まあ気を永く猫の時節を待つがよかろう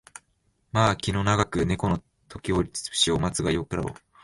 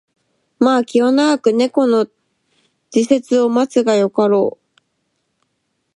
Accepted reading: second